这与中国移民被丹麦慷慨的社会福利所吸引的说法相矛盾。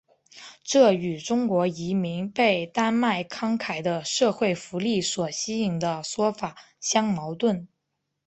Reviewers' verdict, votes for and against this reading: accepted, 2, 0